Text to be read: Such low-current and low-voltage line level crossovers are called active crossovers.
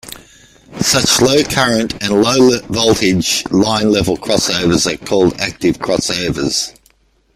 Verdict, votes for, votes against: rejected, 1, 2